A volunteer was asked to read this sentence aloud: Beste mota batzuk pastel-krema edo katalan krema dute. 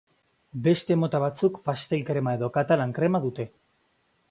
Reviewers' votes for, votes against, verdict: 2, 0, accepted